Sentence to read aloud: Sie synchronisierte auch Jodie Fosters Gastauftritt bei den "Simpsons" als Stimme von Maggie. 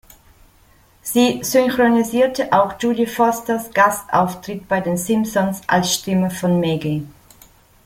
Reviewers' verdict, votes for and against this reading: accepted, 2, 0